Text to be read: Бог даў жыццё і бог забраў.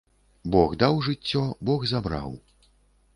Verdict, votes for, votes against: rejected, 0, 2